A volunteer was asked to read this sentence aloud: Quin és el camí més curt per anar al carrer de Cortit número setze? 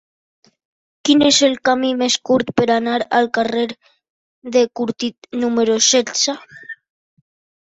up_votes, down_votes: 3, 0